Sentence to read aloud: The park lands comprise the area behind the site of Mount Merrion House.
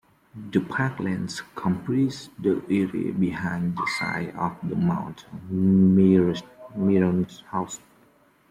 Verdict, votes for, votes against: rejected, 1, 2